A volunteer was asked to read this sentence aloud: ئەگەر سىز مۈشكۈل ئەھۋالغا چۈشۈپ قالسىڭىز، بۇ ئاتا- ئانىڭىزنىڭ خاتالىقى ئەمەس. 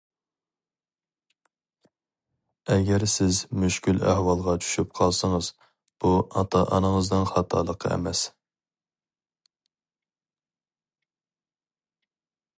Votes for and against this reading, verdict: 4, 0, accepted